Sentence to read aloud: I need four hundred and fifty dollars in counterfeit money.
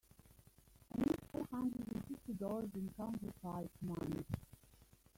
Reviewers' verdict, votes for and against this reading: rejected, 0, 2